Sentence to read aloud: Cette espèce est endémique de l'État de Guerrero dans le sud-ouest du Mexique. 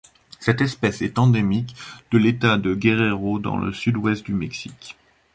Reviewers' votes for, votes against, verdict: 2, 0, accepted